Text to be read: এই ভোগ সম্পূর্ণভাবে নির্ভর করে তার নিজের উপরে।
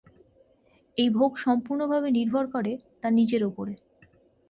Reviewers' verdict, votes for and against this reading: accepted, 6, 0